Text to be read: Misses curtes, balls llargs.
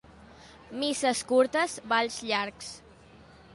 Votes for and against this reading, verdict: 2, 0, accepted